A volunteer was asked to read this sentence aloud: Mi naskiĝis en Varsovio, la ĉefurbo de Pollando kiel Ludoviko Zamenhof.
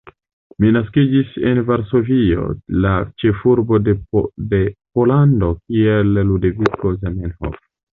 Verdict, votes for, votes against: rejected, 0, 2